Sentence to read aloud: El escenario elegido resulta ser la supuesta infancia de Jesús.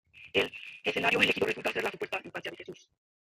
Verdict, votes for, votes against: accepted, 2, 1